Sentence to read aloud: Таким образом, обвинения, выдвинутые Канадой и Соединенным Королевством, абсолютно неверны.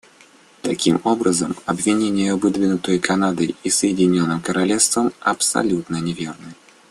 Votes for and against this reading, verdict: 2, 0, accepted